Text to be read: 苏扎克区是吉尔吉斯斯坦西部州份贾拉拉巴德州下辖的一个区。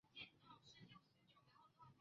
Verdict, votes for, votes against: rejected, 0, 2